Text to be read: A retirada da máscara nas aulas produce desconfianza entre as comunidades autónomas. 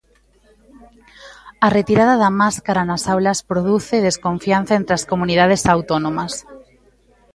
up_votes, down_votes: 2, 1